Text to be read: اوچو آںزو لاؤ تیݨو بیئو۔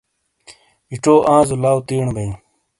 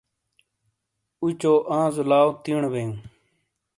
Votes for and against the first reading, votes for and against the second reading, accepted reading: 0, 2, 2, 0, second